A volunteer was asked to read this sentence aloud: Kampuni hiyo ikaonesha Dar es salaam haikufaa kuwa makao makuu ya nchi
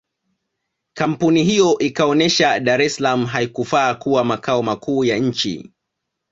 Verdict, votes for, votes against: accepted, 2, 0